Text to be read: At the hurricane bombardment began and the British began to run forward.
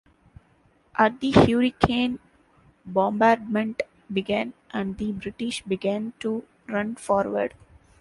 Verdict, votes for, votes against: accepted, 2, 0